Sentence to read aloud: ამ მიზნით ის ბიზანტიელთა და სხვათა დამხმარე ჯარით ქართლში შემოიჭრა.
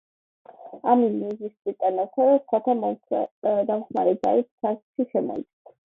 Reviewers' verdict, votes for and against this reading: rejected, 0, 2